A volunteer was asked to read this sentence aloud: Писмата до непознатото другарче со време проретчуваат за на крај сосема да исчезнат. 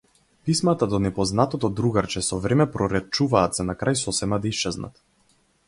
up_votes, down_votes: 4, 0